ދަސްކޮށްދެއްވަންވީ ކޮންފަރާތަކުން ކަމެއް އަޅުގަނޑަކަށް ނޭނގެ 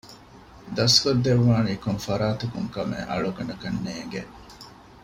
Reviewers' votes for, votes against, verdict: 1, 2, rejected